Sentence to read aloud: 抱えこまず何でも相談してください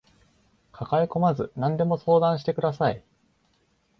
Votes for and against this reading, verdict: 2, 0, accepted